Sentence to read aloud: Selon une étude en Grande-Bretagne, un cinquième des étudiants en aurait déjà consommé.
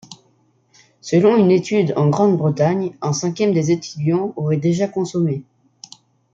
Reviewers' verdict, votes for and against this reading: rejected, 0, 2